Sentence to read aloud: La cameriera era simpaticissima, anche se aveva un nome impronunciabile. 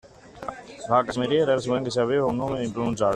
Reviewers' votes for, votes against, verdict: 0, 2, rejected